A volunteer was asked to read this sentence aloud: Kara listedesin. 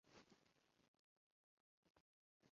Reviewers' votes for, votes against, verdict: 0, 2, rejected